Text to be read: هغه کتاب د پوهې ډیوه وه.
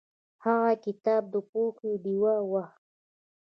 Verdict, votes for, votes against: accepted, 2, 1